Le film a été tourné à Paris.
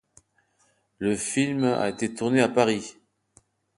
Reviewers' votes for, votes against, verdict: 2, 0, accepted